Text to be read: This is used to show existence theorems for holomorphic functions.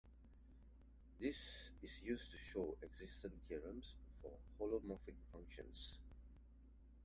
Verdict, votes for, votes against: rejected, 1, 2